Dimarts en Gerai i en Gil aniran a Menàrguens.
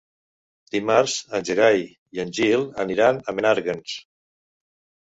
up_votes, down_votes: 3, 0